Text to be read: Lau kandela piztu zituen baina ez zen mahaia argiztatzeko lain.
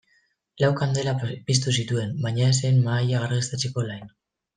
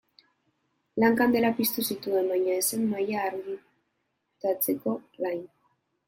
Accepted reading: first